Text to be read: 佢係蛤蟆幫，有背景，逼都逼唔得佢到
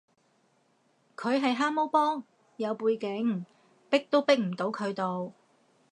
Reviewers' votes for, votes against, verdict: 2, 0, accepted